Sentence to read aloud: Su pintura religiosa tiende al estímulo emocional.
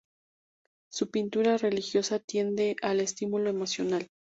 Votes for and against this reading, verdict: 2, 0, accepted